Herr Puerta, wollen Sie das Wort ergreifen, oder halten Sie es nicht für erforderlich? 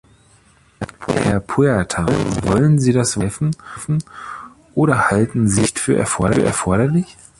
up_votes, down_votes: 0, 2